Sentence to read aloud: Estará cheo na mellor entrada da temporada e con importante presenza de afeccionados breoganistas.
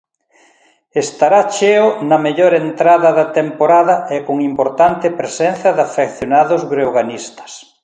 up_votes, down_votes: 3, 0